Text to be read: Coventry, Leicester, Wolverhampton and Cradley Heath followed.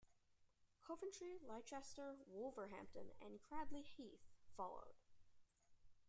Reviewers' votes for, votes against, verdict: 1, 2, rejected